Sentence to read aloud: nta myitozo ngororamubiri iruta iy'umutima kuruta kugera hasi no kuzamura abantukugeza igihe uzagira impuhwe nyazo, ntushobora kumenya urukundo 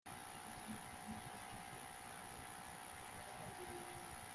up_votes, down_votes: 0, 2